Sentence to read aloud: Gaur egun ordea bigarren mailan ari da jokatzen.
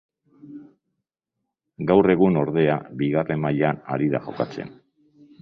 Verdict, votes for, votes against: accepted, 2, 0